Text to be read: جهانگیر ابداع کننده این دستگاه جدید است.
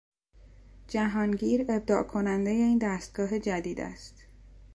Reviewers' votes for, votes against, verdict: 2, 0, accepted